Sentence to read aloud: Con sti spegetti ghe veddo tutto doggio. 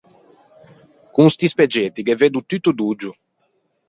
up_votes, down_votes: 2, 4